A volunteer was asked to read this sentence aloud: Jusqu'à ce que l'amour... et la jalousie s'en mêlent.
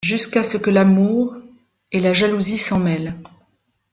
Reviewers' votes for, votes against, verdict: 2, 0, accepted